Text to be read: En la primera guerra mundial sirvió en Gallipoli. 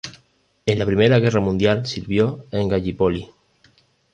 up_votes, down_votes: 2, 0